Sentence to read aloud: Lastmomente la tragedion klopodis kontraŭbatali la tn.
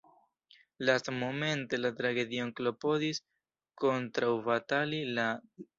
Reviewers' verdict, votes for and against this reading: rejected, 1, 2